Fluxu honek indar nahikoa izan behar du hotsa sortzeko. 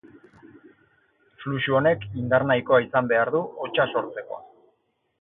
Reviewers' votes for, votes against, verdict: 4, 0, accepted